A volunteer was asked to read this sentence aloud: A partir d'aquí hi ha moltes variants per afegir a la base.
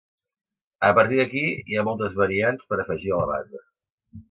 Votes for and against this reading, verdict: 2, 0, accepted